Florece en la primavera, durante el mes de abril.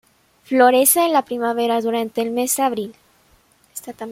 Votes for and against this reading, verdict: 2, 1, accepted